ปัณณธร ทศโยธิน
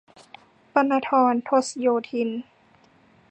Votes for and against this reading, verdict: 3, 0, accepted